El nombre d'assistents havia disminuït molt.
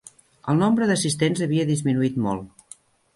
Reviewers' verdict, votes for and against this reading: accepted, 4, 0